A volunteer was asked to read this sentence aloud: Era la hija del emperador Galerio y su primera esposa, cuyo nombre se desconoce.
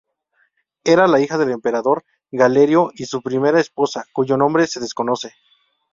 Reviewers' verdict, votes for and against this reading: accepted, 2, 0